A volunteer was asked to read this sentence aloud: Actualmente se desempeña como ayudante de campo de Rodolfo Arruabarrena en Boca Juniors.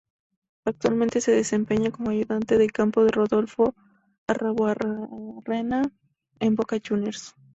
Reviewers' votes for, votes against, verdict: 0, 2, rejected